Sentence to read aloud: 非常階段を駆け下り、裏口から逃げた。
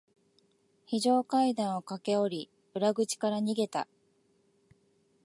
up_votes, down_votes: 3, 0